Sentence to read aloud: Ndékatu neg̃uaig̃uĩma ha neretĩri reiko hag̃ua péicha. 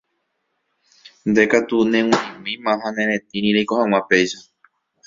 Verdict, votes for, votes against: rejected, 0, 2